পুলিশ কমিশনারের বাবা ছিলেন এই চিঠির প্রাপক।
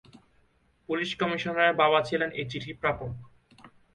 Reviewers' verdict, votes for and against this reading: accepted, 2, 0